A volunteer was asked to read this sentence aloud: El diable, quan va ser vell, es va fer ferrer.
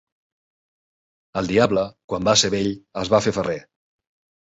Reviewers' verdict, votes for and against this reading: accepted, 2, 0